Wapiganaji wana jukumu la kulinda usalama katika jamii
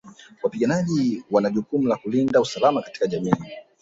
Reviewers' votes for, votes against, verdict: 0, 2, rejected